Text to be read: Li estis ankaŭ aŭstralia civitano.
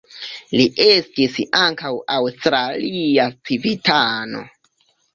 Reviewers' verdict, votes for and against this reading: rejected, 0, 2